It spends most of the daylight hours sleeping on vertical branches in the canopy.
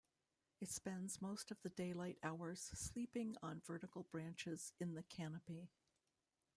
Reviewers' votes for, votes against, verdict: 0, 2, rejected